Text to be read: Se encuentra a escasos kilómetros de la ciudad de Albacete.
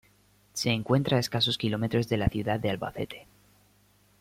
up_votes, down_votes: 2, 0